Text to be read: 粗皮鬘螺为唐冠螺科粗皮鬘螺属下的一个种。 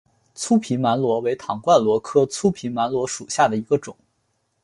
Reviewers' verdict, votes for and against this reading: accepted, 2, 1